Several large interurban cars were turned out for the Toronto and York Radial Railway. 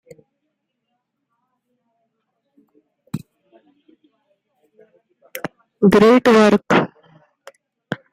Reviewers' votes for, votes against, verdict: 0, 3, rejected